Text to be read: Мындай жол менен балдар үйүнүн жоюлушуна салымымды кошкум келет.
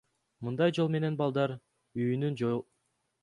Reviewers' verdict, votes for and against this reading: accepted, 2, 0